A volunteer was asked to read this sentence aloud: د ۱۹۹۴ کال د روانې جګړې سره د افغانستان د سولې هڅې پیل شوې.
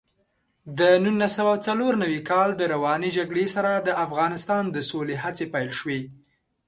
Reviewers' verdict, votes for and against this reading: rejected, 0, 2